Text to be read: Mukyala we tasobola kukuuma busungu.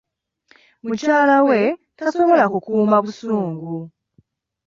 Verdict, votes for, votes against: accepted, 2, 0